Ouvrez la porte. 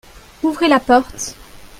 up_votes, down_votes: 2, 0